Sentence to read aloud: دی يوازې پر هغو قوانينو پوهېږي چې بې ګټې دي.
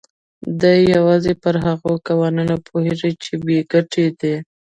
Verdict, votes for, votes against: accepted, 2, 1